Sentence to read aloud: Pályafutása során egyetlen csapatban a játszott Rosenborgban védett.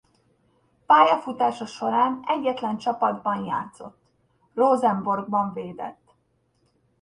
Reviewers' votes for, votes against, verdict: 0, 2, rejected